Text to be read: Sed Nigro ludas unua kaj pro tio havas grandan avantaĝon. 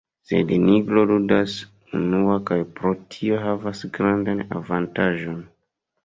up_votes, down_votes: 2, 0